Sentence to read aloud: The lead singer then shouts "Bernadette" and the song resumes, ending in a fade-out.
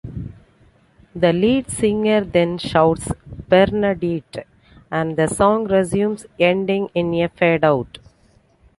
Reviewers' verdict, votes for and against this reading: rejected, 1, 2